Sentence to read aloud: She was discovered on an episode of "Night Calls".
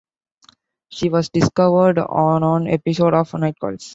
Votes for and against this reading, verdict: 1, 2, rejected